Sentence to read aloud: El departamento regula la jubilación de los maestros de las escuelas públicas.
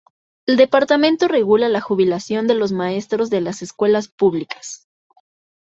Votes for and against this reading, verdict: 2, 0, accepted